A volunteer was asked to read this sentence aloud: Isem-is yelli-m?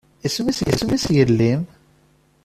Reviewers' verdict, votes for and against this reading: rejected, 0, 2